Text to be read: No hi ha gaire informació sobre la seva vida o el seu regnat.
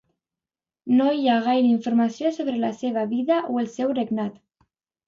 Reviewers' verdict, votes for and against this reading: accepted, 2, 0